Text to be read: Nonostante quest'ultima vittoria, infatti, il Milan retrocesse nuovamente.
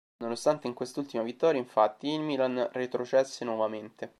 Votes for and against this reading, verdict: 1, 2, rejected